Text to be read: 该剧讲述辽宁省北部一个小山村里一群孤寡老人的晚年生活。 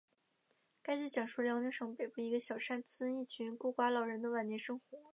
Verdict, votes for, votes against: accepted, 2, 0